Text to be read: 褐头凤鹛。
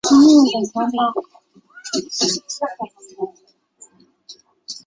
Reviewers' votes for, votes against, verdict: 6, 1, accepted